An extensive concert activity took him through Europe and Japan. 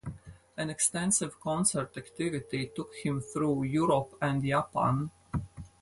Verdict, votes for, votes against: rejected, 2, 4